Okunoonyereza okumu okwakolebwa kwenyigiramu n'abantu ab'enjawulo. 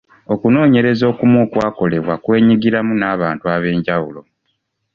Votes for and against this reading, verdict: 2, 0, accepted